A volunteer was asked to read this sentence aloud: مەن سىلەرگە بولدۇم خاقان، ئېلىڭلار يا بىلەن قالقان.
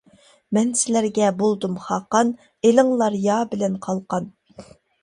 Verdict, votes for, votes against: accepted, 2, 0